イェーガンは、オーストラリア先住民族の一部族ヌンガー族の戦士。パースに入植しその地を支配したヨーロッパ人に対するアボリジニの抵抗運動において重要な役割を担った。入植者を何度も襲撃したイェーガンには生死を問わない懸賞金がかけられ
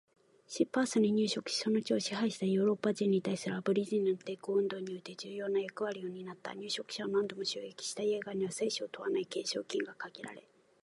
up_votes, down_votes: 1, 2